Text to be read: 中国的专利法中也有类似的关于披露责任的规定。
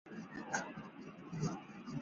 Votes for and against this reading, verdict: 0, 3, rejected